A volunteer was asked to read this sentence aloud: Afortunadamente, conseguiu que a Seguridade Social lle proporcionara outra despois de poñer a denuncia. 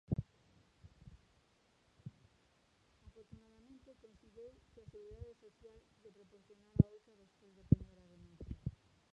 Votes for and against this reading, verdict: 0, 2, rejected